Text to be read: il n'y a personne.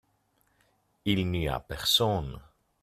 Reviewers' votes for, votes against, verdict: 2, 0, accepted